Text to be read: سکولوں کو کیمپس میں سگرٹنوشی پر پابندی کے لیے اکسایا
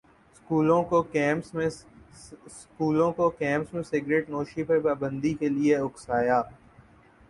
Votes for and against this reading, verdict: 9, 1, accepted